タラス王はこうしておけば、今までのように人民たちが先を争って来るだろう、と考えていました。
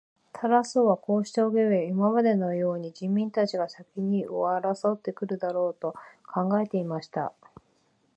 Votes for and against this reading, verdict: 1, 2, rejected